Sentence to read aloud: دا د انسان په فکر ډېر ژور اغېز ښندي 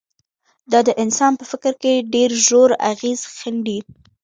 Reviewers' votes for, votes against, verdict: 1, 2, rejected